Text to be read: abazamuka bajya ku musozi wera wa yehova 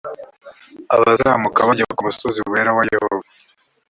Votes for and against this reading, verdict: 3, 0, accepted